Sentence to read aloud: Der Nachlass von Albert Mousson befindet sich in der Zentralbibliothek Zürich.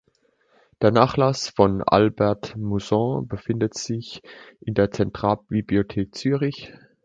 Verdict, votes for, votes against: accepted, 2, 0